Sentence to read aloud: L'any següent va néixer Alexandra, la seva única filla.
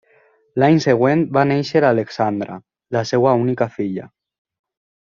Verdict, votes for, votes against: rejected, 1, 2